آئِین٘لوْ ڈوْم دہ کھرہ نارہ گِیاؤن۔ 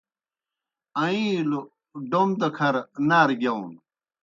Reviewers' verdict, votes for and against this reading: accepted, 2, 0